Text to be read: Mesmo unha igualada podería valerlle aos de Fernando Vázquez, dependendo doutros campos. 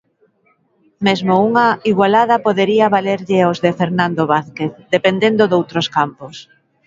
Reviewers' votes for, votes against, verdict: 2, 1, accepted